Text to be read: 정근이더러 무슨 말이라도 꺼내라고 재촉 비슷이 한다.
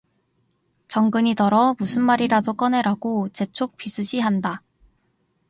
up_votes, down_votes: 2, 0